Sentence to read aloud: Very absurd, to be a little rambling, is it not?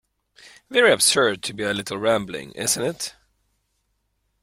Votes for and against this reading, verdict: 0, 2, rejected